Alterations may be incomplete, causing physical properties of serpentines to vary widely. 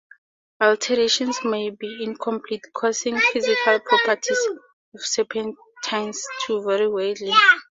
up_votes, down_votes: 2, 0